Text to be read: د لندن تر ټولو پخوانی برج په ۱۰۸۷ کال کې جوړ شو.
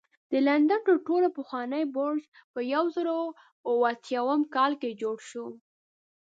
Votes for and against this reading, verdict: 0, 2, rejected